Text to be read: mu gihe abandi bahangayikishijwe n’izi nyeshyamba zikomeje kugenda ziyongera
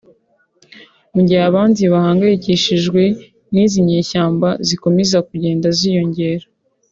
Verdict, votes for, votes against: accepted, 2, 0